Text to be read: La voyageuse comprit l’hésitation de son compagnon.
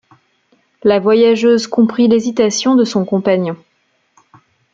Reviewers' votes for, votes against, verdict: 2, 0, accepted